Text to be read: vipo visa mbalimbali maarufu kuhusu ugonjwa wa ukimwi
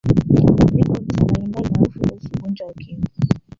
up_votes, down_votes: 0, 2